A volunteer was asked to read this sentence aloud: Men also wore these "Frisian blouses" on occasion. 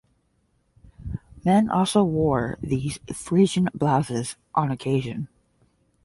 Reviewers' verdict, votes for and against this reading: accepted, 10, 0